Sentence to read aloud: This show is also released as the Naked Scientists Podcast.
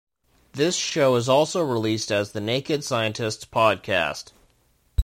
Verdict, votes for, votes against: accepted, 2, 0